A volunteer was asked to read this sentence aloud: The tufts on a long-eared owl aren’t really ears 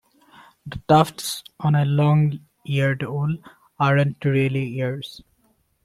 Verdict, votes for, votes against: rejected, 0, 2